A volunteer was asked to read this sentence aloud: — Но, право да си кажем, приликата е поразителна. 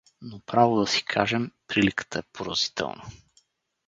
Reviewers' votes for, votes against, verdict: 4, 0, accepted